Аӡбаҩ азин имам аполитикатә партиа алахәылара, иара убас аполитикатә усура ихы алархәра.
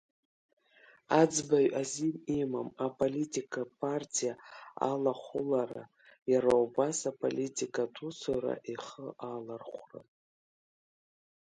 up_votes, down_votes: 0, 2